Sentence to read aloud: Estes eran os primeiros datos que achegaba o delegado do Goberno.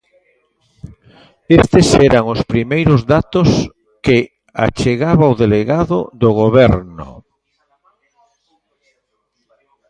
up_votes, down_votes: 0, 2